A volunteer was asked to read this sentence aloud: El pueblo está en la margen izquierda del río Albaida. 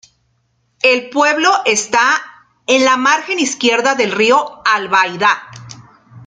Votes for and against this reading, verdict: 0, 2, rejected